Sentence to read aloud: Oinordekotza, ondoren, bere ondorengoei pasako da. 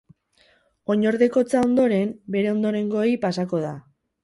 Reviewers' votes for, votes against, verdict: 0, 2, rejected